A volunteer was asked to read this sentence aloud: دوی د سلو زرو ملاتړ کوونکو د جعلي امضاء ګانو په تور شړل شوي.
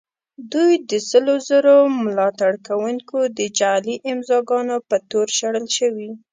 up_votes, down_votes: 2, 0